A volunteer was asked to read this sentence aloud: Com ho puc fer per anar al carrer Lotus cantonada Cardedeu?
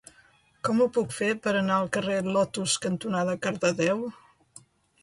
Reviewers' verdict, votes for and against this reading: accepted, 2, 0